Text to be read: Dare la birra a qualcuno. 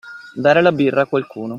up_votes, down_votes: 2, 0